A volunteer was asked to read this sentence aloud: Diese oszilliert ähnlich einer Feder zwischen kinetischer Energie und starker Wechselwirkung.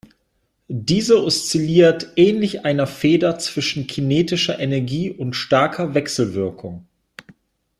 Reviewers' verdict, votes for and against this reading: accepted, 3, 0